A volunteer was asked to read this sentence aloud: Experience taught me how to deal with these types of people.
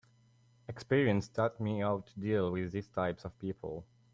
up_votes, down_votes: 3, 0